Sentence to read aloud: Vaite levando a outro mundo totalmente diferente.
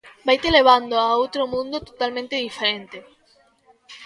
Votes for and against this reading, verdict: 1, 2, rejected